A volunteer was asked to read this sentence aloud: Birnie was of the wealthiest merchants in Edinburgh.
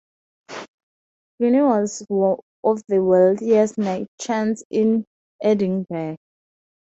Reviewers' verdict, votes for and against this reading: rejected, 0, 2